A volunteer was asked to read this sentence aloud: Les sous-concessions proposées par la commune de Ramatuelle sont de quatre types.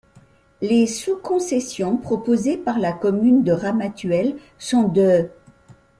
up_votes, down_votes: 0, 2